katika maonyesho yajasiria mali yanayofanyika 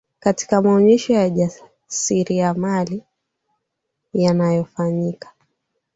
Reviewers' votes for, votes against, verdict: 4, 1, accepted